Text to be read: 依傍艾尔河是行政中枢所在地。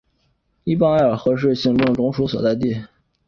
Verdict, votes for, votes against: accepted, 6, 0